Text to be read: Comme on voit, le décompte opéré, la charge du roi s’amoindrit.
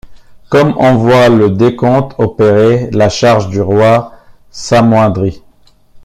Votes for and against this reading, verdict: 2, 0, accepted